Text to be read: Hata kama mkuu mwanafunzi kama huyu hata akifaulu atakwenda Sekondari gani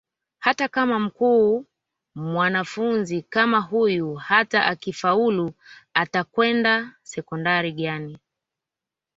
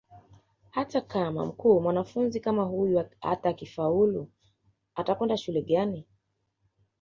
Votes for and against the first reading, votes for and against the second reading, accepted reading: 2, 1, 1, 2, first